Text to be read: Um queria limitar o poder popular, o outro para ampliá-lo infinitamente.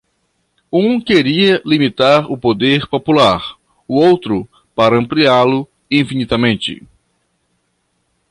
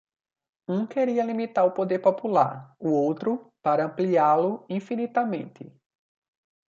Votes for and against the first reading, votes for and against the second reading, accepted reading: 1, 2, 2, 0, second